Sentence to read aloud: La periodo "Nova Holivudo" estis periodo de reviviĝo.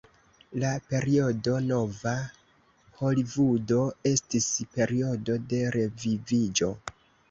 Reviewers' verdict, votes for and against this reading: rejected, 1, 2